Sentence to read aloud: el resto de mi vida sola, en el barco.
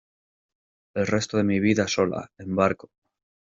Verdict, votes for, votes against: rejected, 0, 2